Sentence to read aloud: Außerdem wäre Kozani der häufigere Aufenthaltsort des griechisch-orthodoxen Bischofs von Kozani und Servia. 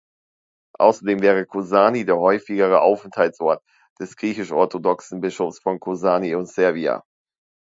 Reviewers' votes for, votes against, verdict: 2, 0, accepted